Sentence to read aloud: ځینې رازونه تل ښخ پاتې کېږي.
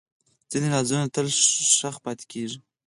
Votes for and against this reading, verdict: 4, 0, accepted